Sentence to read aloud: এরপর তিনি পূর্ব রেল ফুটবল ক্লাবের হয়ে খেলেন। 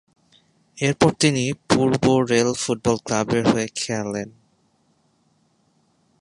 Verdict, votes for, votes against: accepted, 14, 2